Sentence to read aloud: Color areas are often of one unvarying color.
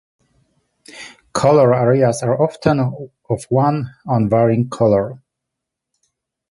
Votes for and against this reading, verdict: 0, 2, rejected